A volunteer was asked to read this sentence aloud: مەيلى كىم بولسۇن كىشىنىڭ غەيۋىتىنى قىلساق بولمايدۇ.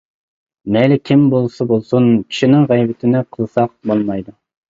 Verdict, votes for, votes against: rejected, 0, 2